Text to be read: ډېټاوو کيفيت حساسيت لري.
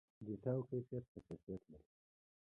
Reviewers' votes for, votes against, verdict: 0, 2, rejected